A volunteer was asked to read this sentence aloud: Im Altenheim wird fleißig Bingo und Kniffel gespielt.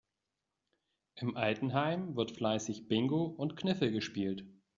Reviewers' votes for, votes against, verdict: 2, 0, accepted